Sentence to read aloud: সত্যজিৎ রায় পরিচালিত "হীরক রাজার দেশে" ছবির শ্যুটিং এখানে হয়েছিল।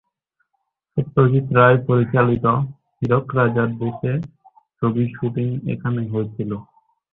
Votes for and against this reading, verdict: 0, 2, rejected